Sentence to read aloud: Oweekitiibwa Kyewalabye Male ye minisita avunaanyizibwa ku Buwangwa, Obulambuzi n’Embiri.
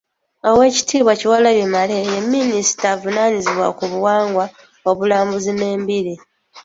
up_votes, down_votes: 1, 3